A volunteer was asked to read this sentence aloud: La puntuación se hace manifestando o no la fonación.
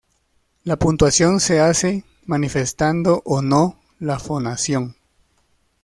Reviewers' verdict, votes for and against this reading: accepted, 2, 0